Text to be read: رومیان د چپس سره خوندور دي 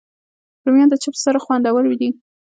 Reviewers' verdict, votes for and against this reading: accepted, 2, 1